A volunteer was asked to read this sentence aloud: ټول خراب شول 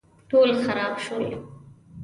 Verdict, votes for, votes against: accepted, 2, 0